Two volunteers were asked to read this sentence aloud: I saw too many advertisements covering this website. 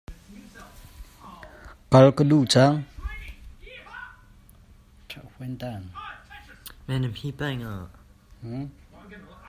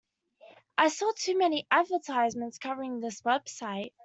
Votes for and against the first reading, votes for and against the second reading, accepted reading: 0, 2, 2, 0, second